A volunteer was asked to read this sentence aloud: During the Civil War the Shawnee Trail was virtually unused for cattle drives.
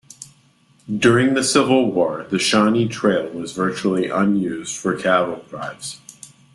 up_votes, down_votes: 2, 0